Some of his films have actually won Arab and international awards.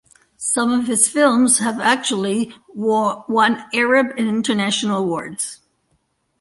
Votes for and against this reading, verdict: 0, 2, rejected